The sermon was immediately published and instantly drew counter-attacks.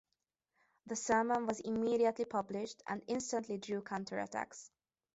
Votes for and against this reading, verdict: 2, 0, accepted